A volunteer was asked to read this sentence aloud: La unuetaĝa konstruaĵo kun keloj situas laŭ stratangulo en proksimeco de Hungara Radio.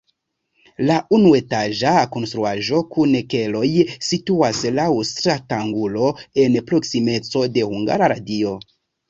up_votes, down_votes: 2, 0